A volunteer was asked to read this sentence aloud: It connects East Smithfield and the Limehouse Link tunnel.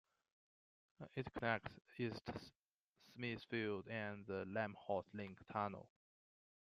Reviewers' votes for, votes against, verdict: 0, 2, rejected